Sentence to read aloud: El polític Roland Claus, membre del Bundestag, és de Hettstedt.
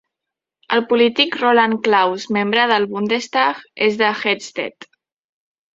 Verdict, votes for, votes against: accepted, 2, 1